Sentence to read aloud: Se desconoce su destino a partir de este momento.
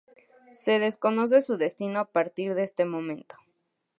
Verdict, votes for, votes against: accepted, 4, 0